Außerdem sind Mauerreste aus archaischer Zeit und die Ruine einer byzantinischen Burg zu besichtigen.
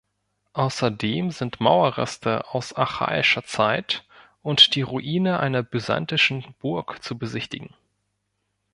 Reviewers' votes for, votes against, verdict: 1, 2, rejected